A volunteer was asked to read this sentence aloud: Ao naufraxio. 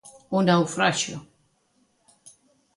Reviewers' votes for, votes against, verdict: 2, 1, accepted